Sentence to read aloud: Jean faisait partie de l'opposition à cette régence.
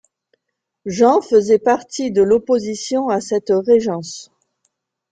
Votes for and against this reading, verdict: 1, 2, rejected